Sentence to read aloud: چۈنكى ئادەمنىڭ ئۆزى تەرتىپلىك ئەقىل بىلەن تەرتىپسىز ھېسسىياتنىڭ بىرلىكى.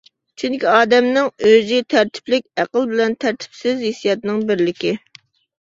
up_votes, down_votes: 2, 0